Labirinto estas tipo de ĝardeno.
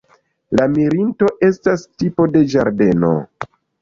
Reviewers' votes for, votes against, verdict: 1, 2, rejected